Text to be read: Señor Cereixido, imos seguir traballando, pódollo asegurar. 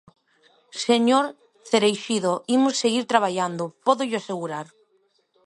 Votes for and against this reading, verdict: 2, 0, accepted